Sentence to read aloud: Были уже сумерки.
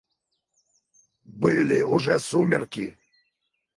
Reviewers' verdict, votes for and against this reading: rejected, 2, 4